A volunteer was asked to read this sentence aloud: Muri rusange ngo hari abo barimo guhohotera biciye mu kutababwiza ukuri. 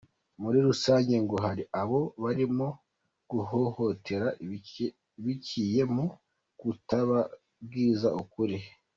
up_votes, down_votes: 2, 1